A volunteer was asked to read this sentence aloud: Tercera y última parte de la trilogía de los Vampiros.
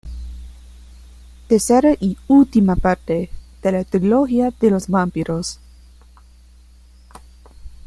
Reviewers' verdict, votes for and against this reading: rejected, 1, 2